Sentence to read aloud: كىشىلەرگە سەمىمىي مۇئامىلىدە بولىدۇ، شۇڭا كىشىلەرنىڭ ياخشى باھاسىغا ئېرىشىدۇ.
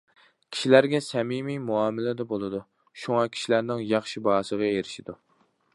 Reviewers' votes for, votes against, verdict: 2, 0, accepted